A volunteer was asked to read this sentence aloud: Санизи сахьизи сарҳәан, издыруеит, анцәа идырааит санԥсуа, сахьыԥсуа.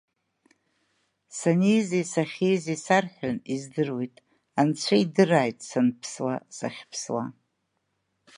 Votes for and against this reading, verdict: 2, 0, accepted